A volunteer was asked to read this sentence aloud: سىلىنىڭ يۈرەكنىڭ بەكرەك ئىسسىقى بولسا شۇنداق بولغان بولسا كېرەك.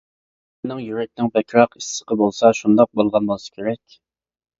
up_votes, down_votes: 0, 2